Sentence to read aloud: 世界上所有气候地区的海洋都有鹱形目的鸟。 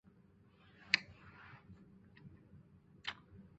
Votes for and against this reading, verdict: 3, 0, accepted